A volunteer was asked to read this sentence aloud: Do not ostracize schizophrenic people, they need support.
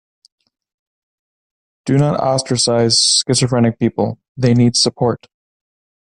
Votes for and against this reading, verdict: 2, 0, accepted